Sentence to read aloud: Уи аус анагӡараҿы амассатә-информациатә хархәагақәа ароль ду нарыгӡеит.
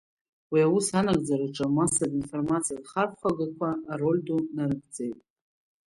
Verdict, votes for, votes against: accepted, 2, 0